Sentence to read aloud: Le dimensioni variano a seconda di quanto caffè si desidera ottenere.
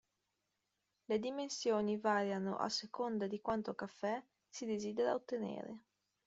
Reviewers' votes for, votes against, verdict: 1, 2, rejected